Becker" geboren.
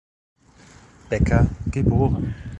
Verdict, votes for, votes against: rejected, 1, 2